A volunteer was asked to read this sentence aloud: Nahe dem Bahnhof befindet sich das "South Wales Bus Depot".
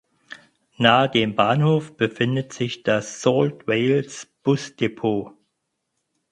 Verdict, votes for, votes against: rejected, 0, 4